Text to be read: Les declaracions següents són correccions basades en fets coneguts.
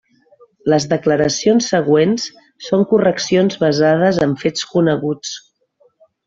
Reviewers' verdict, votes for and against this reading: accepted, 3, 0